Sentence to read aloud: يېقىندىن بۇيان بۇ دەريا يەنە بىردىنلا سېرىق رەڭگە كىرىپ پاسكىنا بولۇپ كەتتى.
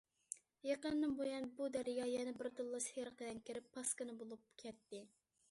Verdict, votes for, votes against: accepted, 2, 1